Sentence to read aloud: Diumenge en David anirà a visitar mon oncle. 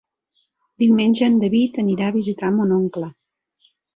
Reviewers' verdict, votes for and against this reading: accepted, 3, 0